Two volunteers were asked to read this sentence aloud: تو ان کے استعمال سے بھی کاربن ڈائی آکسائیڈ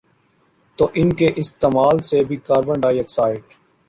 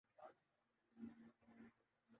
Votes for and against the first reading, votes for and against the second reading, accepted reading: 2, 0, 0, 2, first